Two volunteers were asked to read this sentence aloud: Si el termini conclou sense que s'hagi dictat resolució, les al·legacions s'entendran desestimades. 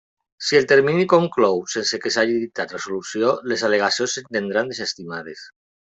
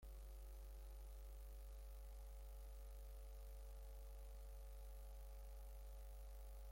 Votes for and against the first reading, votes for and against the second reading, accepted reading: 2, 1, 0, 2, first